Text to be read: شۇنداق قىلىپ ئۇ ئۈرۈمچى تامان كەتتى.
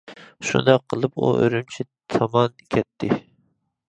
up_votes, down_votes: 2, 0